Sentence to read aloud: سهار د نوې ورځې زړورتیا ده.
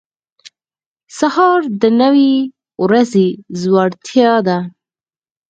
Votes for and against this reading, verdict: 2, 4, rejected